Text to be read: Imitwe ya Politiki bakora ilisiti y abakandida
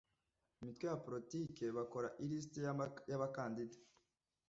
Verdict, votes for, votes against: rejected, 1, 2